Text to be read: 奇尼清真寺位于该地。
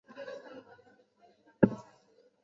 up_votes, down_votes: 0, 5